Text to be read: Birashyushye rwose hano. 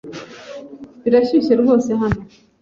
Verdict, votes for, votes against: accepted, 2, 0